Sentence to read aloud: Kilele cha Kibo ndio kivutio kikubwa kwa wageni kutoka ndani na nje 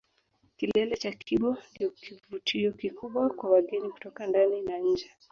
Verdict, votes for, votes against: rejected, 1, 2